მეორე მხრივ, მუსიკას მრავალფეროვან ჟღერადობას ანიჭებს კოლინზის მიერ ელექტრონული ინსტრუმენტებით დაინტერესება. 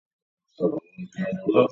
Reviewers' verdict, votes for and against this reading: rejected, 1, 2